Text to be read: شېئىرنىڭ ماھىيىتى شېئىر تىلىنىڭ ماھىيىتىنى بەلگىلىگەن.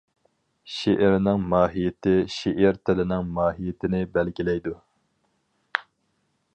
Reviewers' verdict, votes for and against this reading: rejected, 0, 2